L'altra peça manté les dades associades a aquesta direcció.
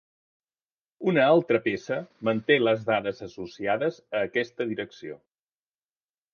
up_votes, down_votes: 0, 2